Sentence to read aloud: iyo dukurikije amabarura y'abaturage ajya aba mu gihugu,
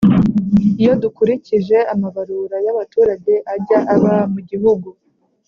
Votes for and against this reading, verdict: 2, 0, accepted